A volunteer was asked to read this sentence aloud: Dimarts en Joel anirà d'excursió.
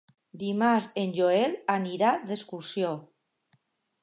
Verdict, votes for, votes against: accepted, 2, 0